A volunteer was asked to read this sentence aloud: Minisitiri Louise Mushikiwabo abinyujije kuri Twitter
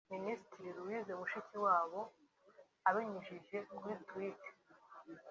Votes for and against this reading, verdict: 1, 2, rejected